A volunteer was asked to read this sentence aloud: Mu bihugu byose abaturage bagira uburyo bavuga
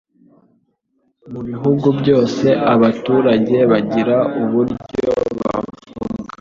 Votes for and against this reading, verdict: 2, 1, accepted